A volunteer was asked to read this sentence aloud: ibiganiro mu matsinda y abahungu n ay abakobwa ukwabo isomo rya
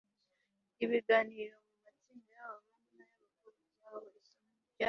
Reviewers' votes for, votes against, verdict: 2, 1, accepted